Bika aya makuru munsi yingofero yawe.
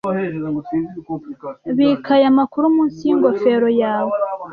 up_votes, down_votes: 1, 2